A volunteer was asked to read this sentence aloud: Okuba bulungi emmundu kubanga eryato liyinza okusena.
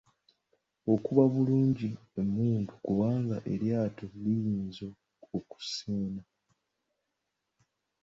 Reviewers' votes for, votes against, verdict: 0, 2, rejected